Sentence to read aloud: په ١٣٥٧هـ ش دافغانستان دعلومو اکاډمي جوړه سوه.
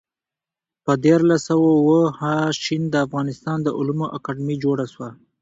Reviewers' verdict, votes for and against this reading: rejected, 0, 2